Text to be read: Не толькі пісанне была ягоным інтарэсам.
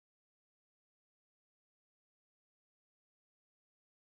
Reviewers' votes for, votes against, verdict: 0, 2, rejected